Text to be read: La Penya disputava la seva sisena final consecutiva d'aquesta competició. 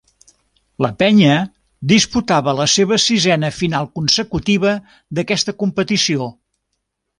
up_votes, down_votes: 1, 2